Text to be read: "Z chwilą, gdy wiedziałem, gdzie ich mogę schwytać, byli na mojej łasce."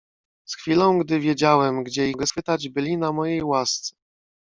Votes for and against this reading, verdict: 0, 2, rejected